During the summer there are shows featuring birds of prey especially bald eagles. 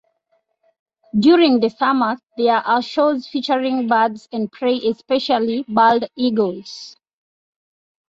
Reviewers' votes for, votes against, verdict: 1, 2, rejected